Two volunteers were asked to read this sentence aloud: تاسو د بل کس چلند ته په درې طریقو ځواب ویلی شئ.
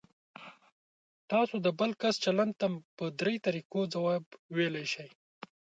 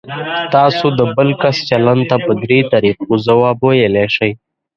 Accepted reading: first